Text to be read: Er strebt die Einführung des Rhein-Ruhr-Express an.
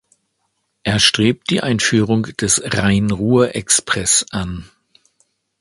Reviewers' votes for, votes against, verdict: 2, 0, accepted